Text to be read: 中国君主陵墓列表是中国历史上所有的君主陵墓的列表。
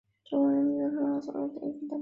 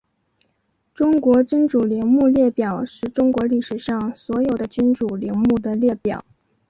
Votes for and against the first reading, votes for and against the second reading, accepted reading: 0, 3, 2, 0, second